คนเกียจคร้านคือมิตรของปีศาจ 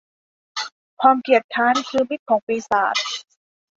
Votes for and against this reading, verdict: 1, 2, rejected